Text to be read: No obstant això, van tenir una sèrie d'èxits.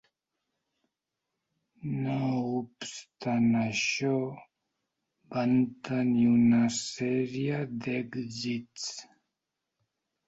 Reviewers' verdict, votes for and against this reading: rejected, 0, 2